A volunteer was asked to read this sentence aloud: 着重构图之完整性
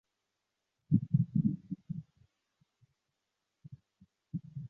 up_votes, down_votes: 0, 2